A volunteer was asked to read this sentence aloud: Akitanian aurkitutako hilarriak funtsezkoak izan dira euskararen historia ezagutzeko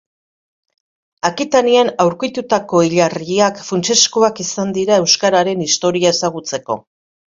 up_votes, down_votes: 2, 0